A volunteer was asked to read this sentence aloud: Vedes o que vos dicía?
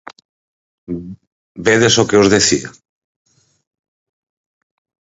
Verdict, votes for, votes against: rejected, 2, 4